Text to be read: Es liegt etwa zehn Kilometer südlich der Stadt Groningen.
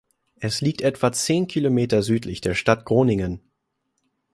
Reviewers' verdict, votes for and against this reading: accepted, 2, 0